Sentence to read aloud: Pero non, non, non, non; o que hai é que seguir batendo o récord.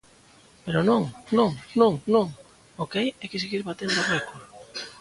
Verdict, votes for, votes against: accepted, 3, 0